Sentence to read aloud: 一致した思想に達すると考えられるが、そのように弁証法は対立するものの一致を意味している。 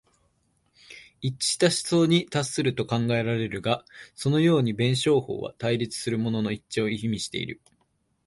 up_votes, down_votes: 2, 1